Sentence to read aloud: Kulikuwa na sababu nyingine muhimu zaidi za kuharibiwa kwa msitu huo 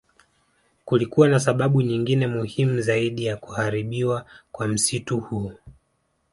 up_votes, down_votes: 2, 0